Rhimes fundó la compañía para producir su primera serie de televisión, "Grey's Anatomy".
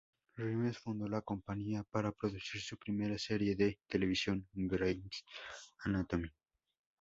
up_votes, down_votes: 2, 0